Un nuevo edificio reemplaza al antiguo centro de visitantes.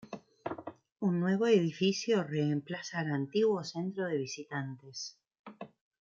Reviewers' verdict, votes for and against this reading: rejected, 1, 2